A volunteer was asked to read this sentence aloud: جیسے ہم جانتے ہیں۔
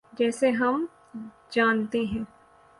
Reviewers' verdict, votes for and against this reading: accepted, 9, 0